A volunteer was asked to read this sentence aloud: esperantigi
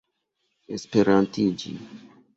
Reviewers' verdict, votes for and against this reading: accepted, 2, 0